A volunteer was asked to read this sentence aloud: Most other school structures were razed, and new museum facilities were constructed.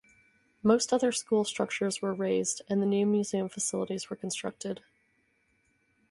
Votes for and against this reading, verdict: 2, 0, accepted